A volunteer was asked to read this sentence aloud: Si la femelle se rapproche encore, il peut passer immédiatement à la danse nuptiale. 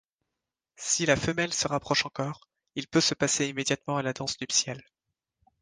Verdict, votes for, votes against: rejected, 1, 2